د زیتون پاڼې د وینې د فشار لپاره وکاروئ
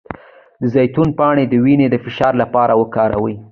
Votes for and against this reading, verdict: 2, 0, accepted